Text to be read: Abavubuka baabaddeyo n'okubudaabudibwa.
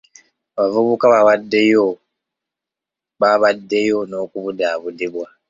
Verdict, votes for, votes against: rejected, 1, 2